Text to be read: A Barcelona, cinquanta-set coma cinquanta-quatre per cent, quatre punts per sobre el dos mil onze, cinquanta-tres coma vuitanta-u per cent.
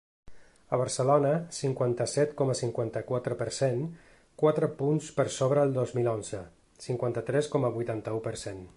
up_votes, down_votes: 4, 0